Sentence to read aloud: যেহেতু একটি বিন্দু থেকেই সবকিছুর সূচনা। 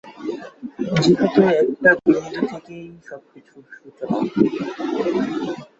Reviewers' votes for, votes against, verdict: 2, 3, rejected